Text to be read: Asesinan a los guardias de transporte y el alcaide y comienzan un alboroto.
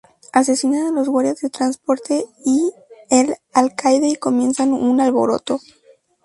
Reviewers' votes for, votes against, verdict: 2, 2, rejected